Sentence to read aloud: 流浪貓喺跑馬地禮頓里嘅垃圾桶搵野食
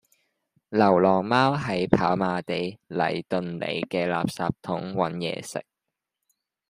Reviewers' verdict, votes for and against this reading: accepted, 2, 0